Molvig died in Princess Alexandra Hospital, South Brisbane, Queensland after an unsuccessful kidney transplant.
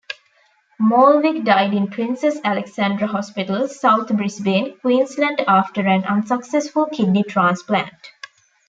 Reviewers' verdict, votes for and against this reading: accepted, 2, 0